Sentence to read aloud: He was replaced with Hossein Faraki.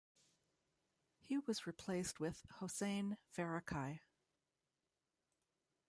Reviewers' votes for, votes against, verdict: 0, 2, rejected